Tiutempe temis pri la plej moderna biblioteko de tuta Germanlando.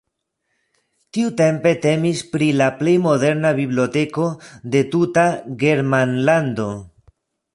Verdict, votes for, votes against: rejected, 1, 2